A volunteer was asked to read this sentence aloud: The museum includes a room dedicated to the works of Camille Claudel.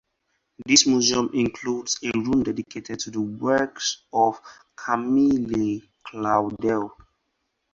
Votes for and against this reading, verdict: 0, 4, rejected